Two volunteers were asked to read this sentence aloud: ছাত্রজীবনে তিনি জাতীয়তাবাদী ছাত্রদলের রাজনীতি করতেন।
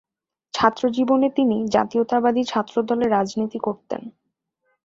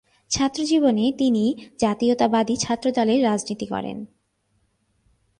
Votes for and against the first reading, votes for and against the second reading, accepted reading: 2, 0, 1, 2, first